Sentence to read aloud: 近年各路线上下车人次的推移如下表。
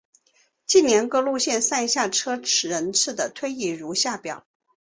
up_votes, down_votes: 3, 0